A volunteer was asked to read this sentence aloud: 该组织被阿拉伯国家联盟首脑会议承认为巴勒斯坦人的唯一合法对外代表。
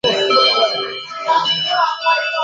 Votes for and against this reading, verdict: 3, 4, rejected